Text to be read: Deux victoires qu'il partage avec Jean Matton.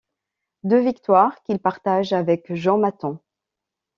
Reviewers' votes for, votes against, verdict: 2, 0, accepted